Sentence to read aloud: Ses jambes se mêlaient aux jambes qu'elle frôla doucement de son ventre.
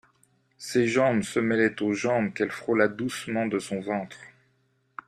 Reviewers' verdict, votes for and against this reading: accepted, 2, 0